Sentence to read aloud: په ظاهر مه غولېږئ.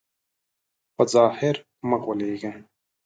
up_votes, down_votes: 2, 0